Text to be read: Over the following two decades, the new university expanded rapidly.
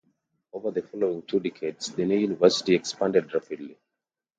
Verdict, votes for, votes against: accepted, 2, 0